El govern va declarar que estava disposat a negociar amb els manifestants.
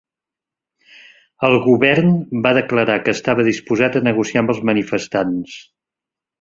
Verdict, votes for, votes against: accepted, 3, 0